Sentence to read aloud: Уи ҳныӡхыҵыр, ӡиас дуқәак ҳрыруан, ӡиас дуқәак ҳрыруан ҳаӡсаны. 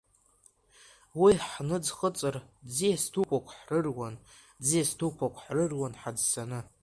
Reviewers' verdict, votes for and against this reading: accepted, 2, 1